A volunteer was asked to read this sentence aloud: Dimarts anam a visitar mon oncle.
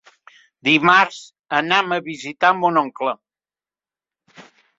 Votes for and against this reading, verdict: 3, 1, accepted